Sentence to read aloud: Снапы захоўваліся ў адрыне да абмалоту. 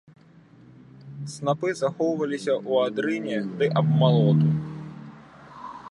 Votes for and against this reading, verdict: 0, 2, rejected